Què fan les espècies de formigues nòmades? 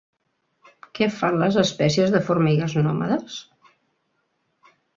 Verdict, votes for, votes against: accepted, 3, 0